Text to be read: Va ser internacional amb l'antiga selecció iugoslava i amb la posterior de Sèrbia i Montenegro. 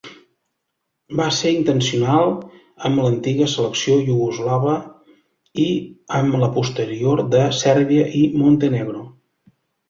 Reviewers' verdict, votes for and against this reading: rejected, 0, 2